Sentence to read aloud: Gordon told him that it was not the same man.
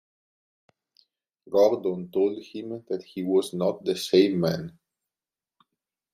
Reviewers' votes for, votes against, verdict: 1, 2, rejected